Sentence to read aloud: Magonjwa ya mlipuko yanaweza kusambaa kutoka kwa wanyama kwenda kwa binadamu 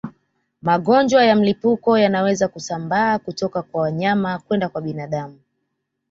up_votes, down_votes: 1, 2